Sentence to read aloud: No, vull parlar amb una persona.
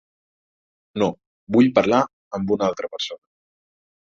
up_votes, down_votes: 0, 2